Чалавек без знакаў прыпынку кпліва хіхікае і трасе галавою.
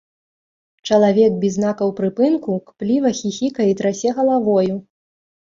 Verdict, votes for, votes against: accepted, 2, 0